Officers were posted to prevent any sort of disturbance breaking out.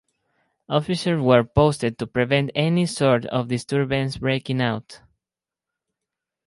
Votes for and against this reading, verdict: 4, 0, accepted